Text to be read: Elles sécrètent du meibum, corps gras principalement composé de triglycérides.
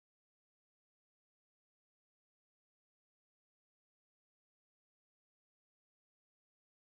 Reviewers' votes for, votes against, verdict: 0, 2, rejected